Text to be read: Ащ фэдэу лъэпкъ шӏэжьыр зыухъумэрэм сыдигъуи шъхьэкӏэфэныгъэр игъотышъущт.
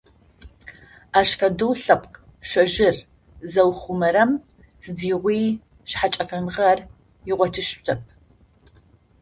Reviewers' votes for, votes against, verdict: 0, 2, rejected